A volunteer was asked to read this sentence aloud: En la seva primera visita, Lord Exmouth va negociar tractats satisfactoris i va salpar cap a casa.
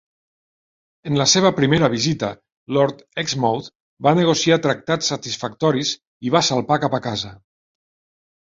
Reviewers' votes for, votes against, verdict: 2, 0, accepted